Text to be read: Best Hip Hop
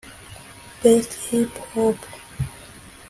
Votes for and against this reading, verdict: 0, 2, rejected